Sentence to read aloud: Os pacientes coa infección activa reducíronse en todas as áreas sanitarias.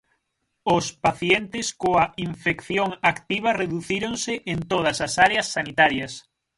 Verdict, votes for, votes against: accepted, 6, 0